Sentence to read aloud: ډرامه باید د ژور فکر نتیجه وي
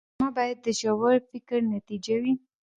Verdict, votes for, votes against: rejected, 1, 2